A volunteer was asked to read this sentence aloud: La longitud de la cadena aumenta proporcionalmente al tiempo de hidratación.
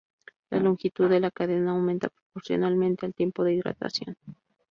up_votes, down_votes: 2, 0